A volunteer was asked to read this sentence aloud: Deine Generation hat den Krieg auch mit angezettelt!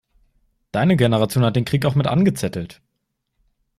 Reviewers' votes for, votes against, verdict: 2, 0, accepted